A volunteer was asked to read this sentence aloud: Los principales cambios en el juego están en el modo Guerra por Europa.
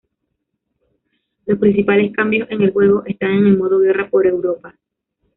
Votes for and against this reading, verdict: 0, 2, rejected